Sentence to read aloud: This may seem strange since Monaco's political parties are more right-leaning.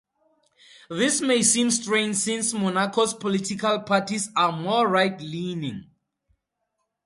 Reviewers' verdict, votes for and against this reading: accepted, 2, 0